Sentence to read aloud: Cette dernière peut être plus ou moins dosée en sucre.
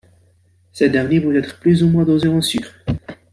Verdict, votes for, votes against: rejected, 0, 2